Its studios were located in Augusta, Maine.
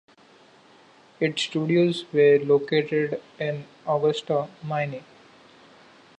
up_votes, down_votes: 1, 2